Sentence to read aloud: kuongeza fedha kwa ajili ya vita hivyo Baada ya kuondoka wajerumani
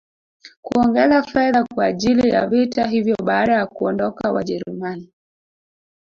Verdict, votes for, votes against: rejected, 1, 2